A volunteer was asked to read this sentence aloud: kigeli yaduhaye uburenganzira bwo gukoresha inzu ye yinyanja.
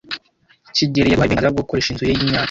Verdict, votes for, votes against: rejected, 1, 2